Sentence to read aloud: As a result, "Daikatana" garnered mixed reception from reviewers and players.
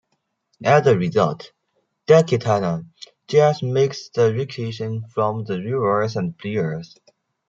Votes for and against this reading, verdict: 0, 2, rejected